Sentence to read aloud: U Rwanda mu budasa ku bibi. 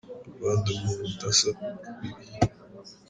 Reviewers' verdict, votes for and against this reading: rejected, 0, 2